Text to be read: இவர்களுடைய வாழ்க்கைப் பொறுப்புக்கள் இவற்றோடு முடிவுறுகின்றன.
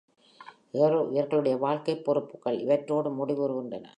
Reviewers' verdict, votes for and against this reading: accepted, 3, 1